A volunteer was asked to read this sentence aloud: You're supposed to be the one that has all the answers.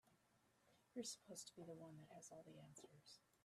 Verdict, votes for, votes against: rejected, 0, 2